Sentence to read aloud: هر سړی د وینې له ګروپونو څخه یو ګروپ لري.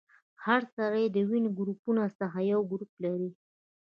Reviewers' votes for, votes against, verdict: 1, 2, rejected